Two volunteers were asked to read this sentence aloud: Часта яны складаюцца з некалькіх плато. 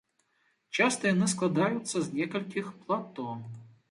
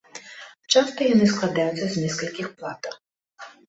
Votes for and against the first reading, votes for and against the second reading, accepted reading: 2, 0, 0, 2, first